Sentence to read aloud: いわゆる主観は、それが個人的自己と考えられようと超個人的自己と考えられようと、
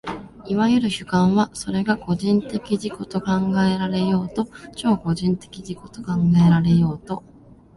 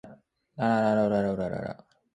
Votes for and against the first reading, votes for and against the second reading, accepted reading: 2, 0, 0, 2, first